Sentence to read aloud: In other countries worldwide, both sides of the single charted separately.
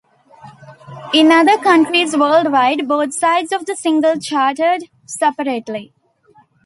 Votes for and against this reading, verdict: 2, 0, accepted